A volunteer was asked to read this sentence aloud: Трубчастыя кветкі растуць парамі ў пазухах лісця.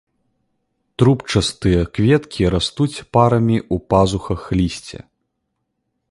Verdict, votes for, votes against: accepted, 2, 1